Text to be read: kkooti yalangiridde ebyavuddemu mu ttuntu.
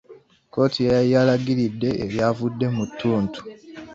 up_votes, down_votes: 0, 2